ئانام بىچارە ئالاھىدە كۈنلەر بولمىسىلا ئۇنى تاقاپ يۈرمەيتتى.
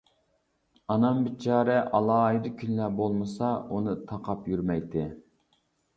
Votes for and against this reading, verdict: 1, 2, rejected